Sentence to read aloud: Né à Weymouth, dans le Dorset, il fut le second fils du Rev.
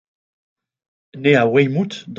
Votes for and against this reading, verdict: 0, 2, rejected